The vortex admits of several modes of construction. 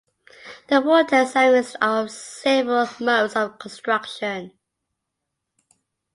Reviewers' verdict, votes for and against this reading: rejected, 1, 2